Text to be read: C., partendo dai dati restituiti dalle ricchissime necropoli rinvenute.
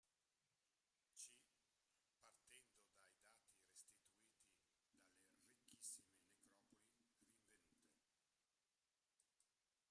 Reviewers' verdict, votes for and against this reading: rejected, 0, 2